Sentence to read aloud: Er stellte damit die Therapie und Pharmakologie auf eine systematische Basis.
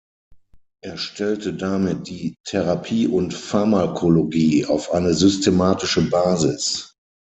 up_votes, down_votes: 6, 0